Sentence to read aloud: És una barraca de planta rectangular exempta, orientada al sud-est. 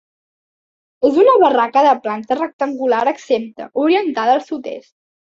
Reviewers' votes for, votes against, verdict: 2, 0, accepted